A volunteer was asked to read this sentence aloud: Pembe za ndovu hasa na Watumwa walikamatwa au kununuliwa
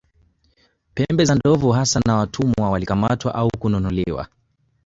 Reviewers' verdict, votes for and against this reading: rejected, 1, 3